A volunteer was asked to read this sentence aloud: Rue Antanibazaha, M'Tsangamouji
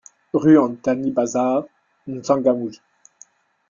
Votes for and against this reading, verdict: 2, 1, accepted